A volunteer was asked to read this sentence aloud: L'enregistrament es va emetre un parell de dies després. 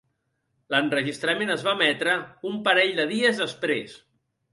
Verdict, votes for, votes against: accepted, 2, 0